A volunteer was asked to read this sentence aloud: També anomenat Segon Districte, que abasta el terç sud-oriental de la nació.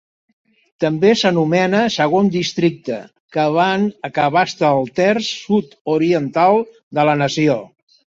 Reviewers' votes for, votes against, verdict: 0, 2, rejected